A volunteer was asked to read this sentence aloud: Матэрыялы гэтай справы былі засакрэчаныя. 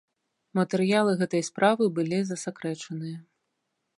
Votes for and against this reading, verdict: 2, 0, accepted